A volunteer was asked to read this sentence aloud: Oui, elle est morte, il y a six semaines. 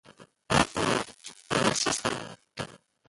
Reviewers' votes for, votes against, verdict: 0, 2, rejected